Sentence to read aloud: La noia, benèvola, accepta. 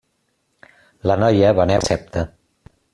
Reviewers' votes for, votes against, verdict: 0, 2, rejected